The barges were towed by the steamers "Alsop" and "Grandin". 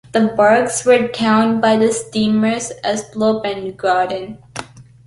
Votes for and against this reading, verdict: 0, 2, rejected